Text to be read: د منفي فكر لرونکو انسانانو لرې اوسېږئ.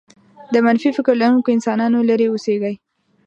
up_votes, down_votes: 2, 0